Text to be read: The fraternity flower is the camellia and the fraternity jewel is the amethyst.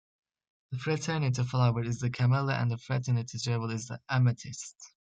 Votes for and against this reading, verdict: 1, 2, rejected